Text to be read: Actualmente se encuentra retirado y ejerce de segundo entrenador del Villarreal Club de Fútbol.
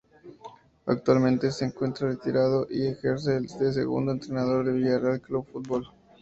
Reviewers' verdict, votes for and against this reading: accepted, 4, 0